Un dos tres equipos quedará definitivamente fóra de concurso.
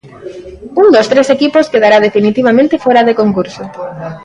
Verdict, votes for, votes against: accepted, 2, 0